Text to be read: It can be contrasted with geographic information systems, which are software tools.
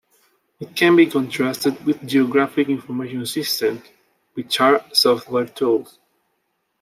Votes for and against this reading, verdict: 2, 1, accepted